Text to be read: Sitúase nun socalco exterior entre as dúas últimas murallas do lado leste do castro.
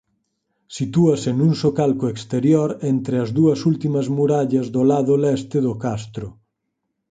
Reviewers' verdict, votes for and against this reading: accepted, 4, 0